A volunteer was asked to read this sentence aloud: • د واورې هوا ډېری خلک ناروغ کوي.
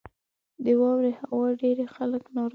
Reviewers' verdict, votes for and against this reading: rejected, 1, 2